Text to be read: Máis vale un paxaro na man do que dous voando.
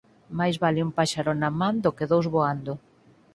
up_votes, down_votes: 2, 4